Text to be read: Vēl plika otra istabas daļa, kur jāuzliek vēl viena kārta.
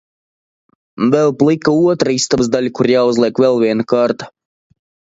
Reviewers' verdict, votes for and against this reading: accepted, 2, 1